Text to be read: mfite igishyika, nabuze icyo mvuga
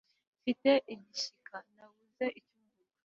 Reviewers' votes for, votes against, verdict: 1, 2, rejected